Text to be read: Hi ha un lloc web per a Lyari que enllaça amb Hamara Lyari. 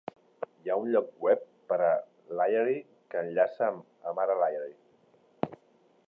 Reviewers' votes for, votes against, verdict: 1, 2, rejected